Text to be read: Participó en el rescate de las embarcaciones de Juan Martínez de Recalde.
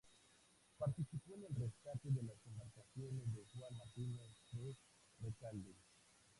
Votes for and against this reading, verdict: 0, 4, rejected